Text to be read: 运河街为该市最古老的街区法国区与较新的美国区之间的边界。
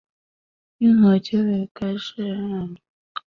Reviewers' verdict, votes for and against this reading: rejected, 0, 2